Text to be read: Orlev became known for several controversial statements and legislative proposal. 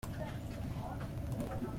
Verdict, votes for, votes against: rejected, 0, 2